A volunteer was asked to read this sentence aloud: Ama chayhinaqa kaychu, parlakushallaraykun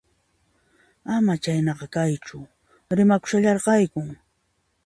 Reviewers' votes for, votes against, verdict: 0, 2, rejected